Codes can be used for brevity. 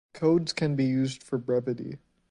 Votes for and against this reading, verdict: 2, 0, accepted